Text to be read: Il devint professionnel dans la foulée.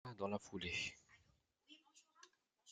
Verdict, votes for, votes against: rejected, 1, 2